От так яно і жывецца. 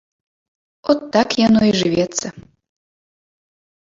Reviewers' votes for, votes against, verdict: 1, 2, rejected